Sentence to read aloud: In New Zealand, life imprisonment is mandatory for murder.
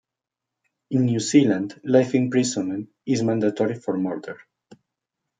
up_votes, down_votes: 2, 0